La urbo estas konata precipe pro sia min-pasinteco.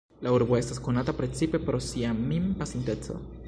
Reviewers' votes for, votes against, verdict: 1, 2, rejected